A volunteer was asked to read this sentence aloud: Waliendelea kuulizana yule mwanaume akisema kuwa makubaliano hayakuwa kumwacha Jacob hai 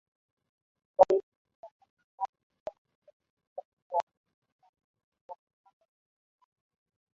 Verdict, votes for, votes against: rejected, 1, 5